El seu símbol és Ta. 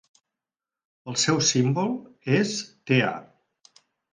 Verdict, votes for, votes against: rejected, 0, 4